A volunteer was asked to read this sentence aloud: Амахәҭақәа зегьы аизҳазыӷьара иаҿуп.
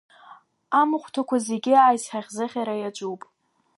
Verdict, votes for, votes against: accepted, 2, 0